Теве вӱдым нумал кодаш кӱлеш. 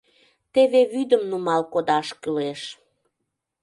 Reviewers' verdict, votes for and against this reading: accepted, 2, 0